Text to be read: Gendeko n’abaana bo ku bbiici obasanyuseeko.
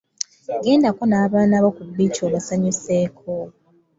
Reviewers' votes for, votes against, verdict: 2, 0, accepted